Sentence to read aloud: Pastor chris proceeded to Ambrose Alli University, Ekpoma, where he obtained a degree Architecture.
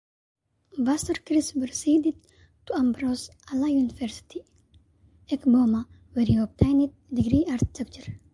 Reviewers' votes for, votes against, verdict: 0, 2, rejected